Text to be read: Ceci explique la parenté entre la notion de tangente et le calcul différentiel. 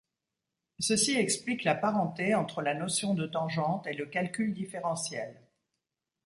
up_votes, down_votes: 2, 1